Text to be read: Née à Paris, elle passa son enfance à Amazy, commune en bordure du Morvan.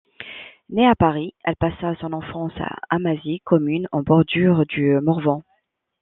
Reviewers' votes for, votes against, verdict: 1, 2, rejected